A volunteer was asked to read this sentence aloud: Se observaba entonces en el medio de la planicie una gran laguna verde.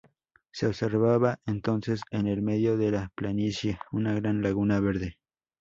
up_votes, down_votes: 2, 2